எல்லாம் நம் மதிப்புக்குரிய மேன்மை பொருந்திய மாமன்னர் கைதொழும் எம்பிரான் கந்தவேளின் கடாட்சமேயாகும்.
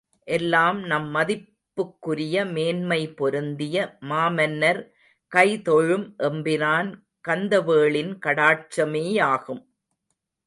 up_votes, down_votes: 2, 0